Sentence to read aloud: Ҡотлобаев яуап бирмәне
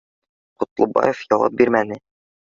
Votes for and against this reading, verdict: 2, 0, accepted